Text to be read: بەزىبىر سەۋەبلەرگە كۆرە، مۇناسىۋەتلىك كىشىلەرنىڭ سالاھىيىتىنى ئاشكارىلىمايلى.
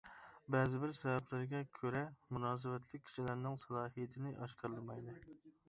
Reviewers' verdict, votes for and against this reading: rejected, 1, 2